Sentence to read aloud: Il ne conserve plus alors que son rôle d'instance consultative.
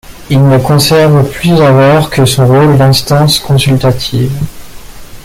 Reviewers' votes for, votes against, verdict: 2, 0, accepted